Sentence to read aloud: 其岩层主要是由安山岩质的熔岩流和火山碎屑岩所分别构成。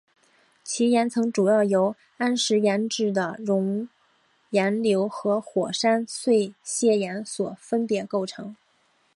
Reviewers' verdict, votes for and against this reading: accepted, 2, 0